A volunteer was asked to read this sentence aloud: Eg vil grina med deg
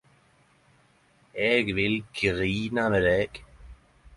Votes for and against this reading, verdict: 10, 0, accepted